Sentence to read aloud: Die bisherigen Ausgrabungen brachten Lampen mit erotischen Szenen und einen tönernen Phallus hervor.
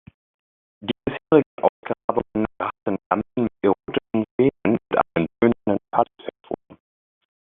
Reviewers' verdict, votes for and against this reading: rejected, 0, 2